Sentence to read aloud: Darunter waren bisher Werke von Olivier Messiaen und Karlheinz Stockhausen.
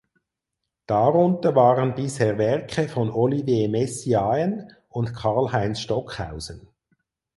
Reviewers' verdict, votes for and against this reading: accepted, 4, 0